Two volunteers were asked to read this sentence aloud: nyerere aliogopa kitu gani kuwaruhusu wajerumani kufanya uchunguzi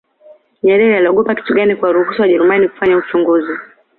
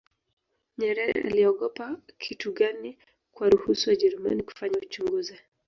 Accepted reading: first